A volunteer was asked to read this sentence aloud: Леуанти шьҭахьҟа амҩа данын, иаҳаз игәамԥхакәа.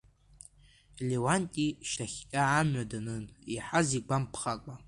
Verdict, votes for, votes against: rejected, 1, 2